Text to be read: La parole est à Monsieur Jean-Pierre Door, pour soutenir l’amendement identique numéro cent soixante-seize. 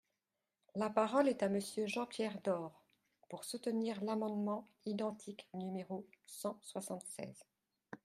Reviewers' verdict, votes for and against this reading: accepted, 2, 0